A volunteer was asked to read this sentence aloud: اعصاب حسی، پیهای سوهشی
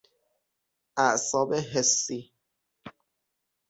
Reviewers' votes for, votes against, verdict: 0, 6, rejected